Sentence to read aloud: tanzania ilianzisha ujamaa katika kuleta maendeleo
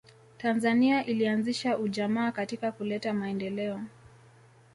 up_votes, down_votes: 2, 1